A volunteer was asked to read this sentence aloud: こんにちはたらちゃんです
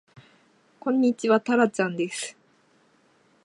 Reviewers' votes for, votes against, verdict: 2, 0, accepted